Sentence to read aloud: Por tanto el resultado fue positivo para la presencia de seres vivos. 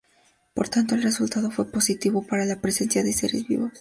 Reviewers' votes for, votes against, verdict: 2, 0, accepted